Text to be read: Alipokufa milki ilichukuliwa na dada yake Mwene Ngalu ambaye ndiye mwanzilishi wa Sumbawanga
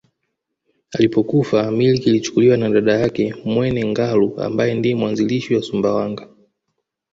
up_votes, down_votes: 2, 0